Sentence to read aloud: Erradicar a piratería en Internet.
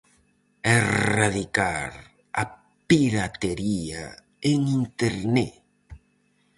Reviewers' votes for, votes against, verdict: 2, 2, rejected